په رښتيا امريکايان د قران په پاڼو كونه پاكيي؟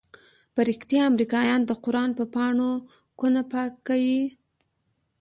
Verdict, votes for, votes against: accepted, 2, 1